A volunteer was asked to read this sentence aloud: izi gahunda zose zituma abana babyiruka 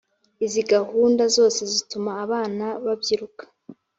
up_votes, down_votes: 3, 0